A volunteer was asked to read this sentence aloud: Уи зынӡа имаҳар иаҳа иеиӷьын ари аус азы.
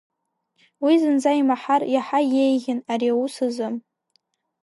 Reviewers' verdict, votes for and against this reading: accepted, 2, 0